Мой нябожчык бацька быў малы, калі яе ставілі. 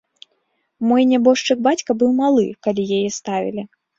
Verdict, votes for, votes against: accepted, 3, 0